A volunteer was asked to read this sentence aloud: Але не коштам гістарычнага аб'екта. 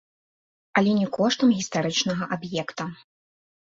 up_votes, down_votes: 2, 0